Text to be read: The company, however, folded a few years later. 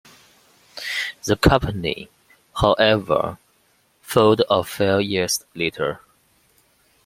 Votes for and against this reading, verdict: 0, 2, rejected